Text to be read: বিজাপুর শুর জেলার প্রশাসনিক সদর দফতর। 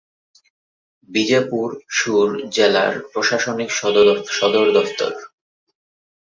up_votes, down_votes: 3, 3